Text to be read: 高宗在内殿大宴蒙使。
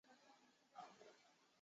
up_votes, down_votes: 2, 8